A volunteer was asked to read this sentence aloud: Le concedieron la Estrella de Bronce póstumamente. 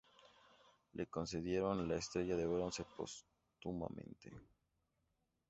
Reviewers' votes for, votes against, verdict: 2, 0, accepted